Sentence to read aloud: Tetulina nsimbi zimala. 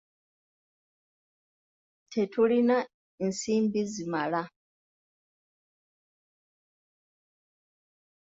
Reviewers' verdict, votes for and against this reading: accepted, 2, 1